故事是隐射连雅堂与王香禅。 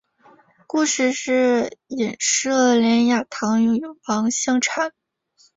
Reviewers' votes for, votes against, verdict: 2, 0, accepted